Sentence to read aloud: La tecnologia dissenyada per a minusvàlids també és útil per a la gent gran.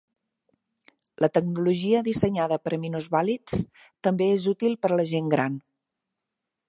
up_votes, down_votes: 2, 0